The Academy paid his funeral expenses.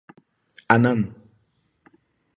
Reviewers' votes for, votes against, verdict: 0, 2, rejected